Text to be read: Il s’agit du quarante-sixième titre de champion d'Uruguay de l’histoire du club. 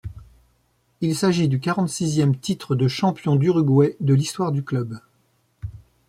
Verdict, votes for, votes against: accepted, 2, 0